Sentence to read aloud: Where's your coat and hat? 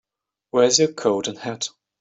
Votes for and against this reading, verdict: 3, 0, accepted